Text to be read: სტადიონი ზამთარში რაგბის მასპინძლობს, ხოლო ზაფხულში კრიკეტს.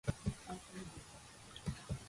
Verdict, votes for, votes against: rejected, 0, 2